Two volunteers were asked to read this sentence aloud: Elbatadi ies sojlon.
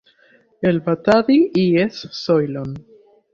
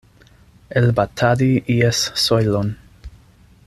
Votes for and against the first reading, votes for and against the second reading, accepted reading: 1, 2, 2, 0, second